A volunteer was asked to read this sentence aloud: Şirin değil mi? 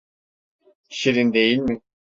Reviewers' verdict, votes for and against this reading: accepted, 2, 0